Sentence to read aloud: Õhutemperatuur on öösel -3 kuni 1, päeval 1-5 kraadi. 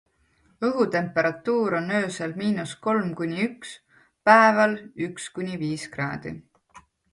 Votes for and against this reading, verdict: 0, 2, rejected